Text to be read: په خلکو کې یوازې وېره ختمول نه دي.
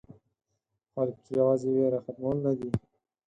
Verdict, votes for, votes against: rejected, 0, 4